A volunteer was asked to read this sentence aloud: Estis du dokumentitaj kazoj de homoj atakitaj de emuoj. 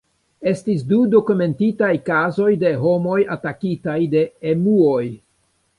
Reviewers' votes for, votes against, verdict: 3, 1, accepted